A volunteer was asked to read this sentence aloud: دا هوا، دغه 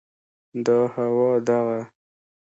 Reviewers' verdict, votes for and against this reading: accepted, 2, 0